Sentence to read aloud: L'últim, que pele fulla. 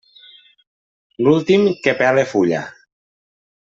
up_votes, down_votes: 2, 0